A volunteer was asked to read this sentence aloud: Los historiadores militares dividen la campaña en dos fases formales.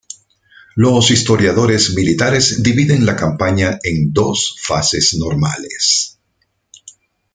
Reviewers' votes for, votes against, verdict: 0, 2, rejected